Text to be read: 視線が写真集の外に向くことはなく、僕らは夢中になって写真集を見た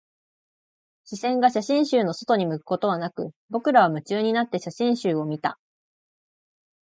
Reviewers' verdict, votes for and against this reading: accepted, 4, 0